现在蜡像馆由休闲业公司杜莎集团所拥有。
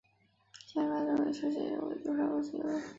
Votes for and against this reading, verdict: 0, 3, rejected